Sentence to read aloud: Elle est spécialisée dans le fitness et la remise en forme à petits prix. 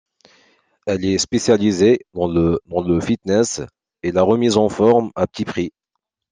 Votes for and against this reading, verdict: 1, 2, rejected